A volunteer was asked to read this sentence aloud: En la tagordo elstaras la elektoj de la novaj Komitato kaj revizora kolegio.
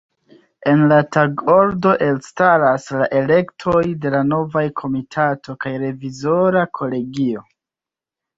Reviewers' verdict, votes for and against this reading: accepted, 2, 0